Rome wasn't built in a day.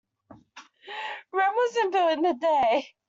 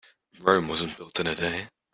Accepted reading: first